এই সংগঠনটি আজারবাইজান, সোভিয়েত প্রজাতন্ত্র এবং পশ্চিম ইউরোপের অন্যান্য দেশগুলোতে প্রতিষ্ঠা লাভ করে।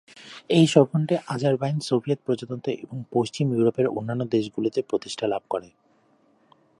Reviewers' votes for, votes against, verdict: 1, 2, rejected